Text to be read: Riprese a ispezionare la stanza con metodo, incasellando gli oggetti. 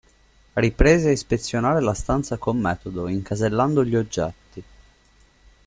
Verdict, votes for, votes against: accepted, 2, 0